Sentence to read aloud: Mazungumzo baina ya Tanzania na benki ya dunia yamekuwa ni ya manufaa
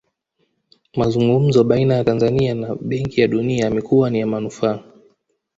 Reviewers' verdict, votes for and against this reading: accepted, 2, 0